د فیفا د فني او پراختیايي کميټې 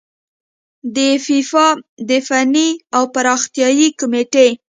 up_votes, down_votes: 2, 0